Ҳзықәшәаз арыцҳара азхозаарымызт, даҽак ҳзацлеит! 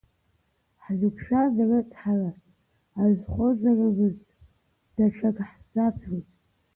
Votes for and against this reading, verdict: 0, 2, rejected